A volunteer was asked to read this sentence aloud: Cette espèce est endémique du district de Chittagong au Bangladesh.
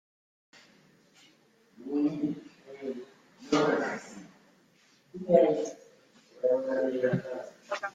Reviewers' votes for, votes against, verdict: 0, 2, rejected